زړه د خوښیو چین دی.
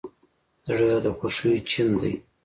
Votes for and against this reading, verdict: 2, 0, accepted